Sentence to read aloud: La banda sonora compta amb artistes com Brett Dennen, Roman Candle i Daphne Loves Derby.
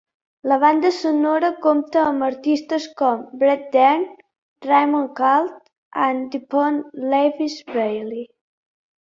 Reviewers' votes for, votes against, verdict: 0, 3, rejected